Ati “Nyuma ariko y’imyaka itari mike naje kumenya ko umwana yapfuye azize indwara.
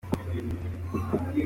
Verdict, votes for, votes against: rejected, 0, 2